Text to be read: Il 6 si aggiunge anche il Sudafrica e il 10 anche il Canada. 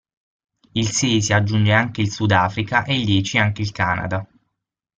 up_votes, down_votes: 0, 2